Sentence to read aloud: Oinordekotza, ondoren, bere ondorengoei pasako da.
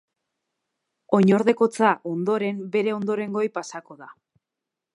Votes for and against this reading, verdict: 2, 0, accepted